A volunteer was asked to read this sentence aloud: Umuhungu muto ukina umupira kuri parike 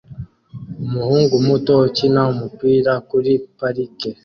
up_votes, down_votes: 2, 0